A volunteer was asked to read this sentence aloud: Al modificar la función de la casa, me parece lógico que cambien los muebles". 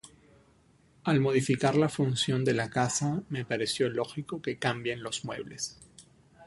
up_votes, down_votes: 0, 3